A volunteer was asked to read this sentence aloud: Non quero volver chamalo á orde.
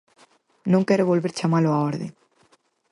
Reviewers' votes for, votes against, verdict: 6, 0, accepted